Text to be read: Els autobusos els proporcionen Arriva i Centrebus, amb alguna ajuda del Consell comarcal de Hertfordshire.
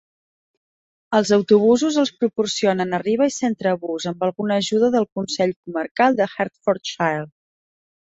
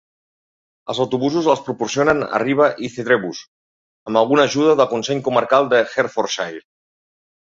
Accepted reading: first